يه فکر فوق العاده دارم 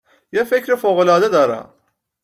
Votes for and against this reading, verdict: 2, 0, accepted